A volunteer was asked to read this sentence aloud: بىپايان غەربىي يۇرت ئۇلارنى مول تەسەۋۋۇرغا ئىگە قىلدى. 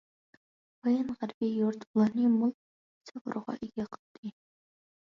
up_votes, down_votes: 0, 2